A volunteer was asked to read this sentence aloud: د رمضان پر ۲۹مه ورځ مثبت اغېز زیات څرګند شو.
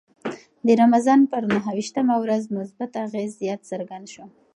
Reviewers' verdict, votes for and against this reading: rejected, 0, 2